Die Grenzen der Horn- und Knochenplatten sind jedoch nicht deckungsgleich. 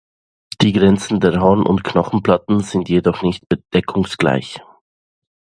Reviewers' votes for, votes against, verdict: 0, 2, rejected